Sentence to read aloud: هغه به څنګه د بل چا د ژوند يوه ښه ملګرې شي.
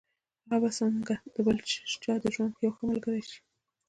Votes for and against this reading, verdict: 2, 0, accepted